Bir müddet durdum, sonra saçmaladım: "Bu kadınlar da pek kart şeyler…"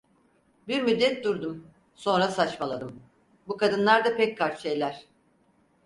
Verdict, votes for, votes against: accepted, 4, 0